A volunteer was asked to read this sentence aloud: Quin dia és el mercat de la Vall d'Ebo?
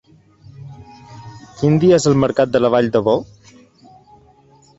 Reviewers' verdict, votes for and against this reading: rejected, 0, 2